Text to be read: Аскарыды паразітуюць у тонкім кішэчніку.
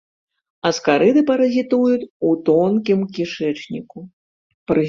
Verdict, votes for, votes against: rejected, 2, 4